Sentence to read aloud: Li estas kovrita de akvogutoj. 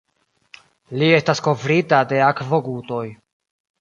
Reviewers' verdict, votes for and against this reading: accepted, 2, 0